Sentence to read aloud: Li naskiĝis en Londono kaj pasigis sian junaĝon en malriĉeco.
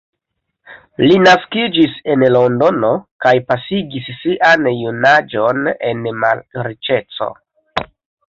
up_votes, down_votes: 2, 0